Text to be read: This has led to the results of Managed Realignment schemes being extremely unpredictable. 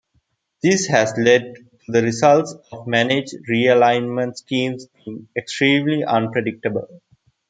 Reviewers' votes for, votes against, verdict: 0, 2, rejected